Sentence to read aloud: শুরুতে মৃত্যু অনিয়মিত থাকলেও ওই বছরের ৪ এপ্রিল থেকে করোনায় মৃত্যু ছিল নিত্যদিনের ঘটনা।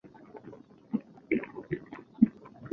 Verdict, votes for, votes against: rejected, 0, 2